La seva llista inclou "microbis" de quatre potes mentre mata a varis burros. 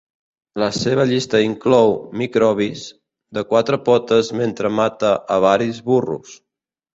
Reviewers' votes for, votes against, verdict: 2, 0, accepted